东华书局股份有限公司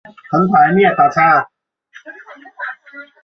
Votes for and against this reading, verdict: 1, 2, rejected